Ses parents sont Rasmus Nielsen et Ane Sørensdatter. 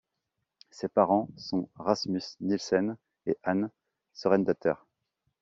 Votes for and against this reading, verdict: 1, 2, rejected